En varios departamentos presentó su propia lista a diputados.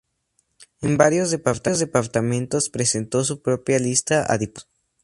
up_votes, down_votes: 0, 2